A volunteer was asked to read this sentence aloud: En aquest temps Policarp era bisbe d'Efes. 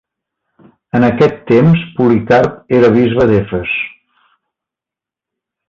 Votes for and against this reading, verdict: 2, 1, accepted